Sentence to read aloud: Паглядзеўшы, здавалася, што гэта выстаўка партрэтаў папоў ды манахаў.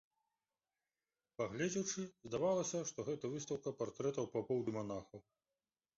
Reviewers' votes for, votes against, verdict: 0, 2, rejected